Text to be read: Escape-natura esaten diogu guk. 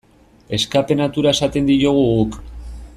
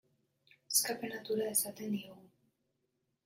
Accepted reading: first